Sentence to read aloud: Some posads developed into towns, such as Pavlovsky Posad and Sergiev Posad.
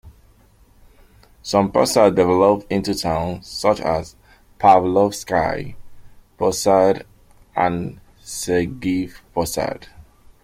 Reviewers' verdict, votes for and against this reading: accepted, 2, 1